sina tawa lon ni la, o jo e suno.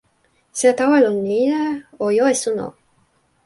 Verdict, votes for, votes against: rejected, 0, 2